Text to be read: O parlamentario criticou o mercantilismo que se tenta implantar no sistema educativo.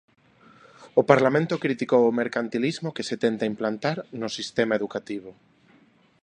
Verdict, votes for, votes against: rejected, 1, 2